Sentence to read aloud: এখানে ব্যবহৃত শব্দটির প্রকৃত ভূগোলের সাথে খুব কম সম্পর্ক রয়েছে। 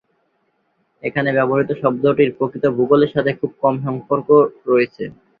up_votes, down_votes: 2, 0